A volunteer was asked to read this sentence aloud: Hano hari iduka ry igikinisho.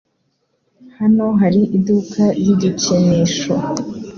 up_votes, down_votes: 2, 0